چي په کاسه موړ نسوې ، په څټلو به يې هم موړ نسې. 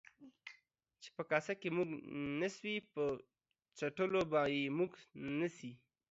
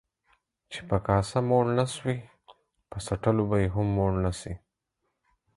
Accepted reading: second